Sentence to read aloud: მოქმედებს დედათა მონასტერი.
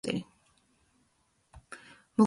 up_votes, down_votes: 0, 2